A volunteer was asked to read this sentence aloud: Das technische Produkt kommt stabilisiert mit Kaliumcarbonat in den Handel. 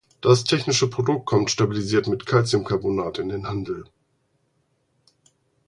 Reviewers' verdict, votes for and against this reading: rejected, 0, 4